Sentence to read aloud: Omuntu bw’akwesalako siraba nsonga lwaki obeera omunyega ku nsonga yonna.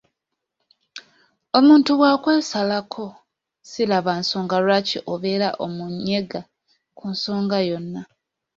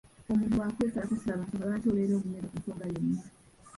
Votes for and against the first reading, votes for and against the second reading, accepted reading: 2, 0, 0, 2, first